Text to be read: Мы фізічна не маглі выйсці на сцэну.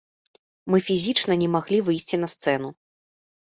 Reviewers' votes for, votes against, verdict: 2, 0, accepted